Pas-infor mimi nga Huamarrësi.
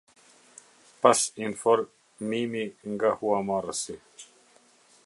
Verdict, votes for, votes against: rejected, 0, 2